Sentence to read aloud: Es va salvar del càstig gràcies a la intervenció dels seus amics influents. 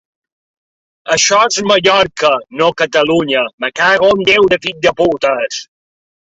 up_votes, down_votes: 0, 2